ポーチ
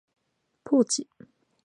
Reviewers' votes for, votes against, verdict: 2, 0, accepted